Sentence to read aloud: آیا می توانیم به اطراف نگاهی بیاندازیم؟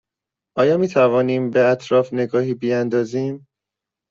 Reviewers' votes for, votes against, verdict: 2, 0, accepted